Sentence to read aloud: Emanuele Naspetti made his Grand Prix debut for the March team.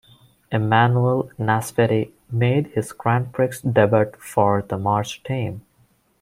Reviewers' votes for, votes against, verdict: 1, 2, rejected